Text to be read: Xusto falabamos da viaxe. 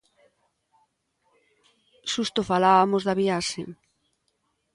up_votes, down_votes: 0, 2